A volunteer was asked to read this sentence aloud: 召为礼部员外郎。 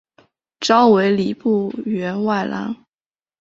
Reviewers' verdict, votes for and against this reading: accepted, 2, 0